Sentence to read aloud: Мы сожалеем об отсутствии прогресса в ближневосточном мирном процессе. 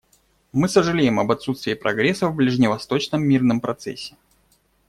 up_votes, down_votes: 2, 0